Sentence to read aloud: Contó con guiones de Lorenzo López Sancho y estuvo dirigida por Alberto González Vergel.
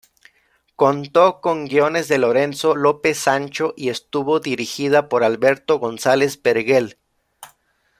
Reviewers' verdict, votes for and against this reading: rejected, 0, 2